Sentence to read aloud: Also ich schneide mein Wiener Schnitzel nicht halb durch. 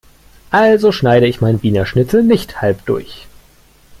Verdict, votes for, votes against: rejected, 1, 2